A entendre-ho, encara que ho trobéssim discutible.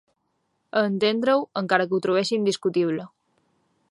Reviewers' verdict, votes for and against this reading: accepted, 2, 0